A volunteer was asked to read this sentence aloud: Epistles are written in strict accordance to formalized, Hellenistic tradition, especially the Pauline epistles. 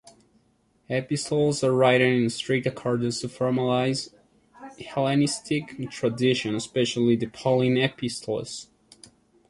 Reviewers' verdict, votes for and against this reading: rejected, 0, 2